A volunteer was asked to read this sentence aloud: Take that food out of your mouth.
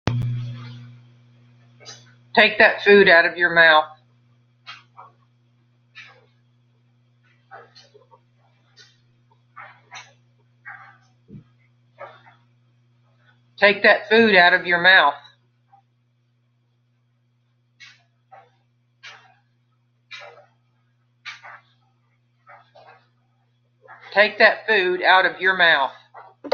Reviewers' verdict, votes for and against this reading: rejected, 0, 2